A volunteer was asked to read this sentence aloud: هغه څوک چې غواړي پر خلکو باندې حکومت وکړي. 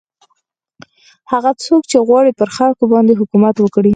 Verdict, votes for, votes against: accepted, 4, 2